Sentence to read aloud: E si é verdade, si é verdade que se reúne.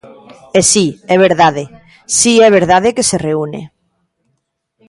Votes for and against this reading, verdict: 2, 0, accepted